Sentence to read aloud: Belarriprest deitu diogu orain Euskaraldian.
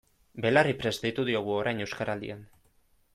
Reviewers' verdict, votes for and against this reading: accepted, 2, 0